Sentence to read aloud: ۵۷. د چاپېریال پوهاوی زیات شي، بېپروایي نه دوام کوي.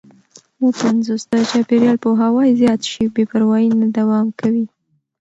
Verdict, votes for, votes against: rejected, 0, 2